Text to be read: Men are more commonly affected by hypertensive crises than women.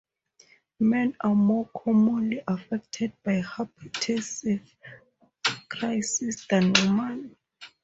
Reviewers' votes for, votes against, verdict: 0, 2, rejected